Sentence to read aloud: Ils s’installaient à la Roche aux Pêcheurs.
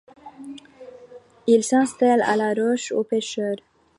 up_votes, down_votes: 2, 0